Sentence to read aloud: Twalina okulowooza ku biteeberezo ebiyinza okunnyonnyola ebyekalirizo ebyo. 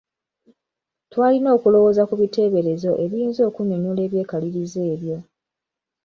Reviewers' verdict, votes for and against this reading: accepted, 2, 0